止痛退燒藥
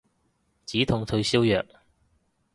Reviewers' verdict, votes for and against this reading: accepted, 2, 0